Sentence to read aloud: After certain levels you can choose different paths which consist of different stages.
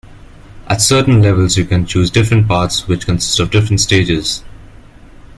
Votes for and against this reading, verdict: 1, 2, rejected